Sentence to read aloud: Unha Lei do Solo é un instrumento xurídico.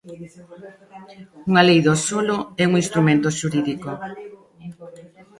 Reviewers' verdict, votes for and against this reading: rejected, 0, 2